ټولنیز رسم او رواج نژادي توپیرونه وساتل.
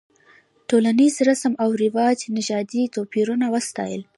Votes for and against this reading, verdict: 0, 2, rejected